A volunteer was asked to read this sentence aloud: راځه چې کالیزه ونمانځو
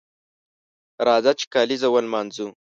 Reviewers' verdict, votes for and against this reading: accepted, 2, 0